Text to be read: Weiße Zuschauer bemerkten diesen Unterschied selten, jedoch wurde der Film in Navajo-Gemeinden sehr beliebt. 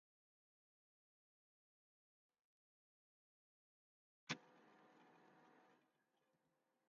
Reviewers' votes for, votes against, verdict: 0, 2, rejected